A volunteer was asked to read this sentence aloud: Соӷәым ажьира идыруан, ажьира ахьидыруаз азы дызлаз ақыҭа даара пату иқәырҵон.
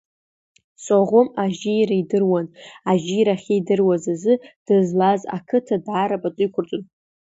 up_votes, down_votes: 1, 2